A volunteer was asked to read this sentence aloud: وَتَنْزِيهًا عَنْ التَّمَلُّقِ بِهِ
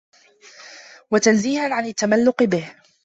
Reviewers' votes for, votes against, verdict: 2, 0, accepted